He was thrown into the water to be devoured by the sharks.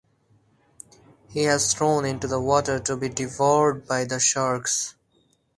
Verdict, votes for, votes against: accepted, 4, 0